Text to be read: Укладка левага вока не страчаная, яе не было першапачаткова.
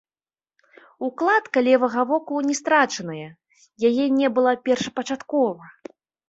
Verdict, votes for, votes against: rejected, 1, 2